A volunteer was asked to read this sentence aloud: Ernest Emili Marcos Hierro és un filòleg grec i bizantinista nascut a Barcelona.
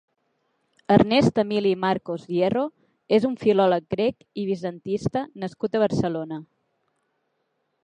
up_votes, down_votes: 2, 3